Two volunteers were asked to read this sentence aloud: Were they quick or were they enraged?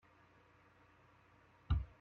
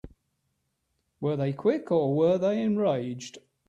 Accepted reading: second